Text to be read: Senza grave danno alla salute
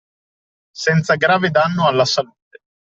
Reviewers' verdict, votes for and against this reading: accepted, 2, 0